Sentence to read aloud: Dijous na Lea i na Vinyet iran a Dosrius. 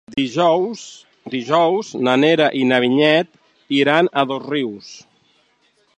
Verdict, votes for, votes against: rejected, 0, 2